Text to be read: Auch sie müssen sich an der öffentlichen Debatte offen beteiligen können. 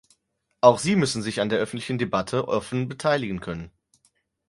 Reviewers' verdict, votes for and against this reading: rejected, 2, 4